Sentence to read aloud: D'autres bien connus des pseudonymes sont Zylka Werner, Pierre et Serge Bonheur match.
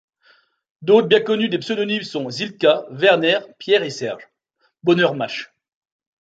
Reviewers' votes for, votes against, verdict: 0, 2, rejected